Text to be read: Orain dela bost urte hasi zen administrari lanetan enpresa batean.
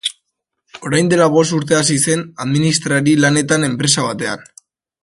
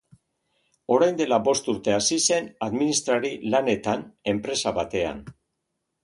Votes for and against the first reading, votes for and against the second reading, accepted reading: 1, 2, 2, 0, second